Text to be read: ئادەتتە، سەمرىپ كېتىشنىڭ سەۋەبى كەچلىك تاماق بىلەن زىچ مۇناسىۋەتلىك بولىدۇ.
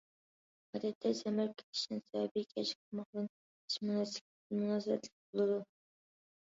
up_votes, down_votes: 0, 2